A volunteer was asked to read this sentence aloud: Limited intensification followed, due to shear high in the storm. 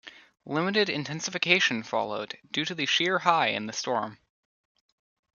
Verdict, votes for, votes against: rejected, 1, 2